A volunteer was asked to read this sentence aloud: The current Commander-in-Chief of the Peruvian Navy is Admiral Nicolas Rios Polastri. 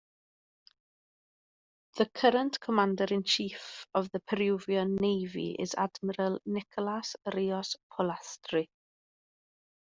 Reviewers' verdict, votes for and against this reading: accepted, 2, 0